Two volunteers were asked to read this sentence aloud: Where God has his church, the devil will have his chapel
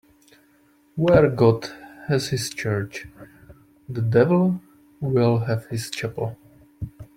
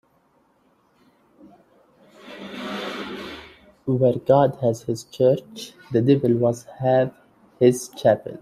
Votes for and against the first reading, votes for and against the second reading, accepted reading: 2, 0, 2, 3, first